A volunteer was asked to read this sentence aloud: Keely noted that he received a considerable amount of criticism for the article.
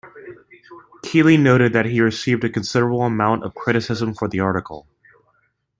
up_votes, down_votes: 2, 0